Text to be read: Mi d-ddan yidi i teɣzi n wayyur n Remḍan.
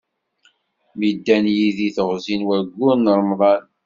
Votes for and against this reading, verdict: 2, 1, accepted